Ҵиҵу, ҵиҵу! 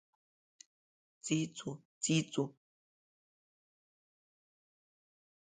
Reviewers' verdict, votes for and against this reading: accepted, 3, 1